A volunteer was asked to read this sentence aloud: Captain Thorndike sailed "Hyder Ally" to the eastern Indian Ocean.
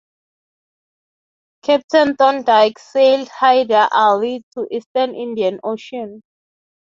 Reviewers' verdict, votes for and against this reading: rejected, 0, 3